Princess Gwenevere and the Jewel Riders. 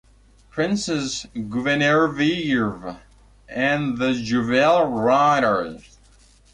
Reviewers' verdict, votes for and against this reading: rejected, 1, 2